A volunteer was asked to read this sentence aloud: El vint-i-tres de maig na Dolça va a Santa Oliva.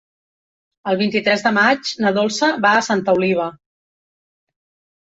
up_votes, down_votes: 3, 0